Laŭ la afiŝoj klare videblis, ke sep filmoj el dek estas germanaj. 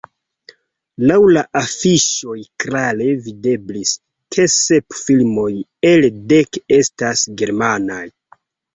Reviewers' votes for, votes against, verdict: 2, 1, accepted